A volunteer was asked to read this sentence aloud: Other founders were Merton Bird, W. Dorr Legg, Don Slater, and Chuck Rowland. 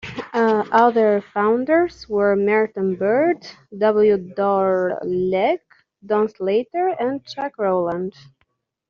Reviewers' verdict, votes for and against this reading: accepted, 2, 1